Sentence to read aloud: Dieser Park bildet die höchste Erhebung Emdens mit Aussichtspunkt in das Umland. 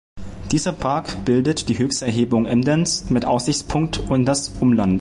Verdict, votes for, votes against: rejected, 0, 2